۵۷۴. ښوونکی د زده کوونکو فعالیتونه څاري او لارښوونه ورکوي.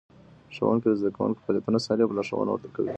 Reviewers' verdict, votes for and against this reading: rejected, 0, 2